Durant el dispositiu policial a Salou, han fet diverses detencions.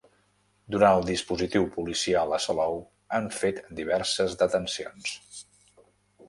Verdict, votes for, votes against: accepted, 3, 0